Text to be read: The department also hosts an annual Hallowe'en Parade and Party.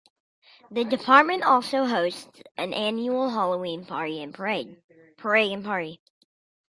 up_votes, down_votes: 0, 2